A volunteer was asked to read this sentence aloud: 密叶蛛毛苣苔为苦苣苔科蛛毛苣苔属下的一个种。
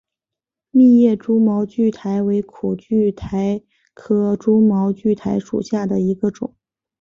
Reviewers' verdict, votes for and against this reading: accepted, 2, 0